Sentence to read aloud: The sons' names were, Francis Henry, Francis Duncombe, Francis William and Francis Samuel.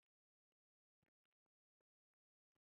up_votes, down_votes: 0, 2